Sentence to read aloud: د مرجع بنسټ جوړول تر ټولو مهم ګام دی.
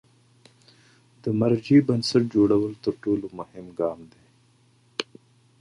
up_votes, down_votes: 2, 0